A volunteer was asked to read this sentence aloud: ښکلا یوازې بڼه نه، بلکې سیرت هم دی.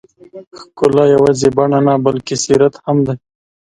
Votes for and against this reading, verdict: 2, 0, accepted